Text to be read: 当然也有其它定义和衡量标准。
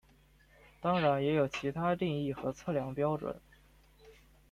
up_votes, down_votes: 1, 2